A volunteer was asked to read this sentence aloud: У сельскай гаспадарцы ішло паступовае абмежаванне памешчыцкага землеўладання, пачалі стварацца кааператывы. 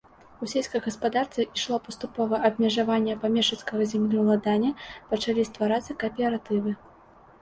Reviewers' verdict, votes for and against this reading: accepted, 2, 0